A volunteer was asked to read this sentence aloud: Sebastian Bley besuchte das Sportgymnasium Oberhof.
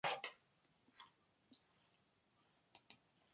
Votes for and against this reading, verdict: 0, 2, rejected